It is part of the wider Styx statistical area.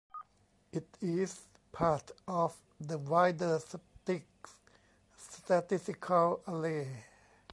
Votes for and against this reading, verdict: 1, 2, rejected